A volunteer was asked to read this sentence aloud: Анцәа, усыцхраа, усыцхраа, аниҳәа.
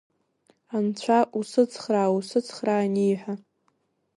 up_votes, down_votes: 0, 2